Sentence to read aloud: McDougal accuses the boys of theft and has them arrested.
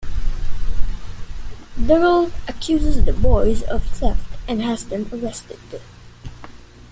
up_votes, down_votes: 2, 1